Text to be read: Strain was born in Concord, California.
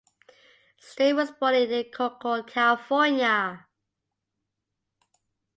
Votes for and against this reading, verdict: 0, 2, rejected